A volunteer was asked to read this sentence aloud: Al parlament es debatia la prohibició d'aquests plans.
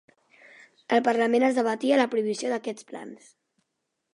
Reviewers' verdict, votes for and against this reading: accepted, 2, 0